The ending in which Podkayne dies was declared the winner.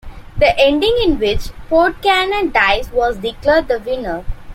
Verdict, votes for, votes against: accepted, 2, 0